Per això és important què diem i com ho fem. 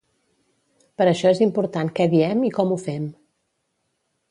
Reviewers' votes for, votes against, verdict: 2, 0, accepted